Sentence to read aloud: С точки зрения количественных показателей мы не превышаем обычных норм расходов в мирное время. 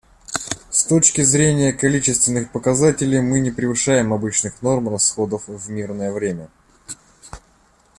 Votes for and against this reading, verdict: 2, 0, accepted